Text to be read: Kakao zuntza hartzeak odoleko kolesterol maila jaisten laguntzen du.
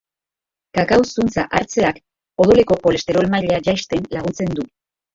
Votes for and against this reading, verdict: 0, 2, rejected